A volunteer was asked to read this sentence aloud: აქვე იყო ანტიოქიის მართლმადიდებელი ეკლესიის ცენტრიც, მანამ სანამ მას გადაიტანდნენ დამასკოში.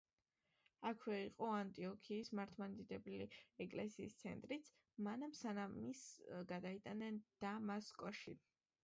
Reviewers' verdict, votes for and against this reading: accepted, 3, 0